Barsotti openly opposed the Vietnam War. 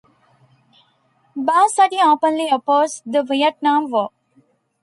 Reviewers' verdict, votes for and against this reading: rejected, 1, 2